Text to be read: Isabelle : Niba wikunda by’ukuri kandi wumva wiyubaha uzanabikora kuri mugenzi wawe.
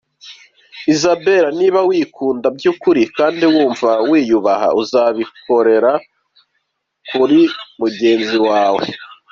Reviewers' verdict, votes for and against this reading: accepted, 2, 1